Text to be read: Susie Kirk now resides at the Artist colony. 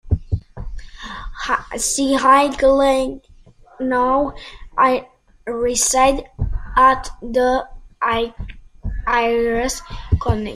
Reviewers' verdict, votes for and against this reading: rejected, 0, 2